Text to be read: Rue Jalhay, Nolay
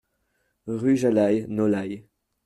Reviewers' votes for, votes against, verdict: 0, 2, rejected